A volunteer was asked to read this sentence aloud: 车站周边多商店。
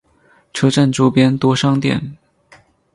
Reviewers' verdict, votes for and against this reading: accepted, 4, 0